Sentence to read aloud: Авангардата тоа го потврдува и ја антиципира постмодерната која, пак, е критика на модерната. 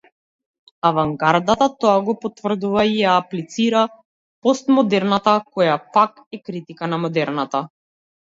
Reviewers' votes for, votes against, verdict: 0, 2, rejected